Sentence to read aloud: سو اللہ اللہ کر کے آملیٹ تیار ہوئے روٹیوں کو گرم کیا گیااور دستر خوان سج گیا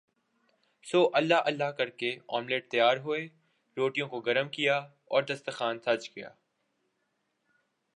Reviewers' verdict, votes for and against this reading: accepted, 2, 0